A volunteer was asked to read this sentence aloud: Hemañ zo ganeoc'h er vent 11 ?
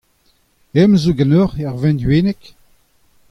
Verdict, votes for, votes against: rejected, 0, 2